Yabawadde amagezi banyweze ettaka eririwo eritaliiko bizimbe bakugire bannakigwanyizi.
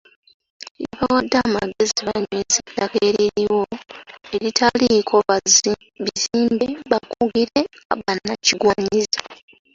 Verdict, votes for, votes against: rejected, 0, 2